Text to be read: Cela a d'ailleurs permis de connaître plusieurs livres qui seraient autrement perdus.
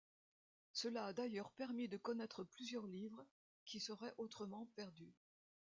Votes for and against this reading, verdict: 2, 1, accepted